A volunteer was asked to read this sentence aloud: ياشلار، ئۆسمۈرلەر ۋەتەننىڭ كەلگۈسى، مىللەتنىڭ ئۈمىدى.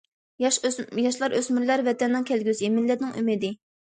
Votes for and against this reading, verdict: 0, 2, rejected